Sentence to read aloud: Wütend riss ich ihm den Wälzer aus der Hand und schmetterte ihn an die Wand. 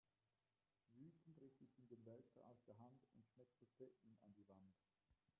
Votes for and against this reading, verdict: 1, 2, rejected